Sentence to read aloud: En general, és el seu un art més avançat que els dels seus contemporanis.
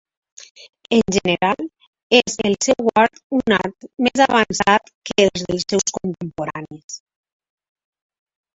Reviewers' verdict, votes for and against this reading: rejected, 0, 2